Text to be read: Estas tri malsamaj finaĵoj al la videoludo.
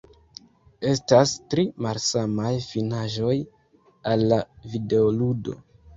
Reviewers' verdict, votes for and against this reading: rejected, 0, 2